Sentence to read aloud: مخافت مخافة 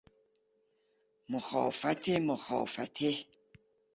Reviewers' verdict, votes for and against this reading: rejected, 1, 2